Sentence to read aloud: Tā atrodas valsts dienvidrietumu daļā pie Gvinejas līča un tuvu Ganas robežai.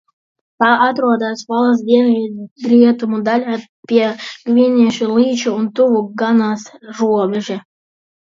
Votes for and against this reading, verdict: 0, 2, rejected